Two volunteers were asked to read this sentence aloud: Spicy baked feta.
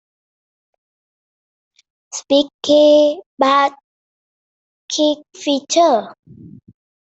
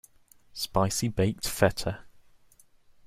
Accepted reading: second